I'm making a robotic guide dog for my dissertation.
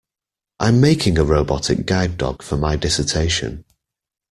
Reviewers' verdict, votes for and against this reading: accepted, 2, 0